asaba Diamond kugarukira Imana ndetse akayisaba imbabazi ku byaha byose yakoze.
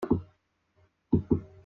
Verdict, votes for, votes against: rejected, 0, 2